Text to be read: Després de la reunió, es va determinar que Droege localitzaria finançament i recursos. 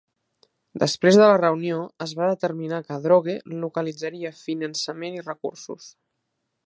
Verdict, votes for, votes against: accepted, 4, 1